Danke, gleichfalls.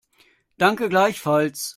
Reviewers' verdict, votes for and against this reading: accepted, 2, 0